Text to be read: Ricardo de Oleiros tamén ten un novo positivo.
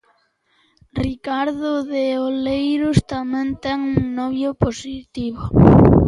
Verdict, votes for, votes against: rejected, 0, 2